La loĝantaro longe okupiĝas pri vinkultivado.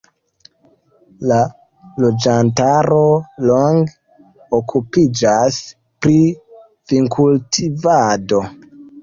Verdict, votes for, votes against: accepted, 2, 1